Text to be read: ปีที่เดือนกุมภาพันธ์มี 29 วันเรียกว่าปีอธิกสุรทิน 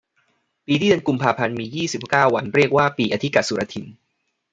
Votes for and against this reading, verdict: 0, 2, rejected